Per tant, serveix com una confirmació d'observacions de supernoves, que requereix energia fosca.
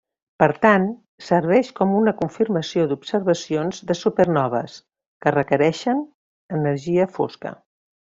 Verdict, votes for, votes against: rejected, 0, 2